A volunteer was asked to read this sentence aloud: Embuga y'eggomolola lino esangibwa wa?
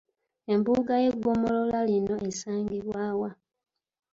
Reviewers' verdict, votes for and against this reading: accepted, 2, 0